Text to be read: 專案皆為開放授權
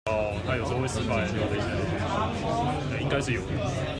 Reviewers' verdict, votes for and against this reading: rejected, 0, 2